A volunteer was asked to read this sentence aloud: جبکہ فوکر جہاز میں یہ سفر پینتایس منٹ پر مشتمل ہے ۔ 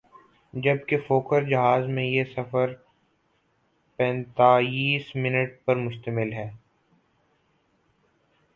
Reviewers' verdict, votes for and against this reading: rejected, 0, 4